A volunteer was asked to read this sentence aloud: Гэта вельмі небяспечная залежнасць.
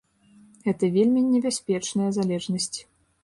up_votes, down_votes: 2, 0